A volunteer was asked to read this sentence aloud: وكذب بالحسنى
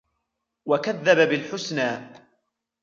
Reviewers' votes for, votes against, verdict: 2, 1, accepted